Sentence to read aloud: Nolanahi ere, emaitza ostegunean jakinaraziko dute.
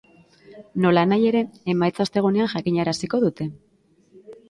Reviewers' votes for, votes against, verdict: 2, 0, accepted